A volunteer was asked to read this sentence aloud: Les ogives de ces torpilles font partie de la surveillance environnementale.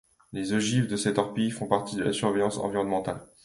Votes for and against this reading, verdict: 2, 0, accepted